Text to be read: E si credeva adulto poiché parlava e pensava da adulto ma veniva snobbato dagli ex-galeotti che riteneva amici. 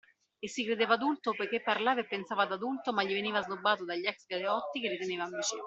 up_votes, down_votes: 2, 1